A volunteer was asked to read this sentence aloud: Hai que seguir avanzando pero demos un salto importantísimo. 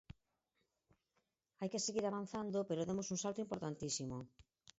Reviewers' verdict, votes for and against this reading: rejected, 0, 4